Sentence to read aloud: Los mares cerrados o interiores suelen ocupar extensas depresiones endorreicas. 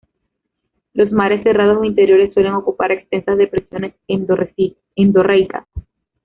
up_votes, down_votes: 1, 2